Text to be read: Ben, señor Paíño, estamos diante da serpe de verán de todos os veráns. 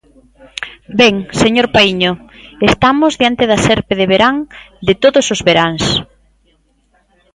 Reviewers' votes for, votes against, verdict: 2, 0, accepted